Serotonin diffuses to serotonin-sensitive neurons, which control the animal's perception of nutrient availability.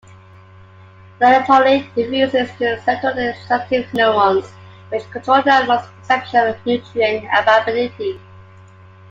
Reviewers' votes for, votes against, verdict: 2, 1, accepted